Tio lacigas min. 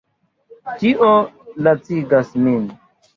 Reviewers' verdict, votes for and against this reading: rejected, 1, 2